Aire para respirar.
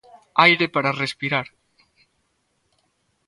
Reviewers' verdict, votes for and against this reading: accepted, 2, 0